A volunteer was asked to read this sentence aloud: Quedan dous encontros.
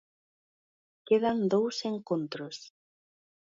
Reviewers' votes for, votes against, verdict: 2, 0, accepted